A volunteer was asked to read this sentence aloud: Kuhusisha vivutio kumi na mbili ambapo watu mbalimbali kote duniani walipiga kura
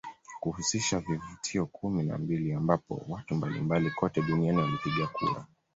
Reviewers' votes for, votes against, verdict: 1, 2, rejected